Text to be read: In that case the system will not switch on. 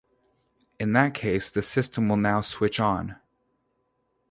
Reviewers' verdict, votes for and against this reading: rejected, 0, 2